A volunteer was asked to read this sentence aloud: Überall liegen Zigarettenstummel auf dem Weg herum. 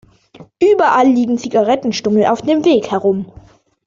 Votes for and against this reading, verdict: 2, 0, accepted